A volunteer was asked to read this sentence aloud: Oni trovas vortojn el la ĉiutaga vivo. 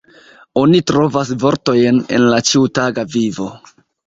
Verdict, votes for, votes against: accepted, 2, 1